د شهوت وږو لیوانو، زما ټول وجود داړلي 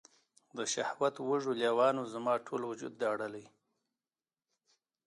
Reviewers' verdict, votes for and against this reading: accepted, 2, 0